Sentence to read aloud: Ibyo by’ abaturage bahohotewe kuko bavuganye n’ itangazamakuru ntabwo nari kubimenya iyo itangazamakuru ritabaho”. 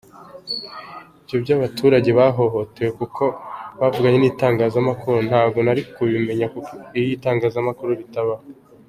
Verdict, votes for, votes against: accepted, 3, 1